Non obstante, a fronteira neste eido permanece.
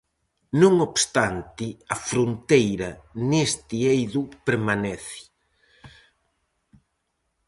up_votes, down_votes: 4, 0